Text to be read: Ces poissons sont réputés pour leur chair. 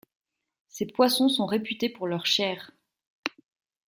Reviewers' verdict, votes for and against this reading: accepted, 2, 0